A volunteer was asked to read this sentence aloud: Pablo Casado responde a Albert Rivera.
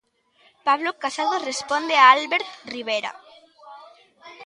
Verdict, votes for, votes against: accepted, 2, 0